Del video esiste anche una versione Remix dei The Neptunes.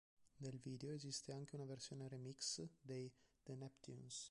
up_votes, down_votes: 2, 3